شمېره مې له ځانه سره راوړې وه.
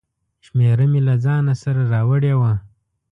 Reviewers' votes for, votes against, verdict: 2, 0, accepted